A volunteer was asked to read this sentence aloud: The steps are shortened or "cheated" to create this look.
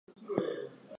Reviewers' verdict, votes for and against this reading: rejected, 0, 4